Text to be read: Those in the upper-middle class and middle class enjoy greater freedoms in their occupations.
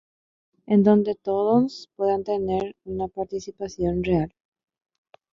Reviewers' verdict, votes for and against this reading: rejected, 0, 2